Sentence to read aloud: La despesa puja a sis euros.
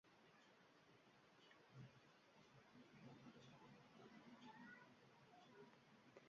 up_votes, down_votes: 0, 2